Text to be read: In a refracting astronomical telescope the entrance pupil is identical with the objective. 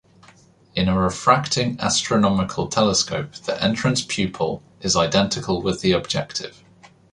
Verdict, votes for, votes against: accepted, 2, 0